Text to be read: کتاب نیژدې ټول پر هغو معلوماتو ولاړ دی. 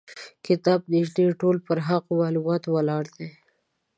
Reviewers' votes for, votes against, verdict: 2, 0, accepted